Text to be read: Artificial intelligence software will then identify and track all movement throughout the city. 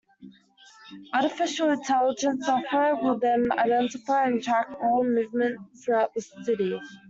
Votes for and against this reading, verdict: 1, 2, rejected